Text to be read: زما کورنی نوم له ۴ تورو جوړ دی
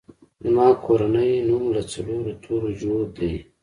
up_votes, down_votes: 0, 2